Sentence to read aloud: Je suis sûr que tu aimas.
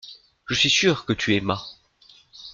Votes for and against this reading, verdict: 2, 0, accepted